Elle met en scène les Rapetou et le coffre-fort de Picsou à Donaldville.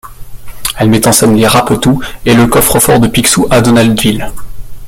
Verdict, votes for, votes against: rejected, 1, 2